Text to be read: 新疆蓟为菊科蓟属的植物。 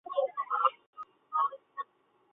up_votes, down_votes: 0, 3